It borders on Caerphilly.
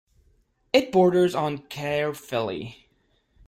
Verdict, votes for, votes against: accepted, 2, 0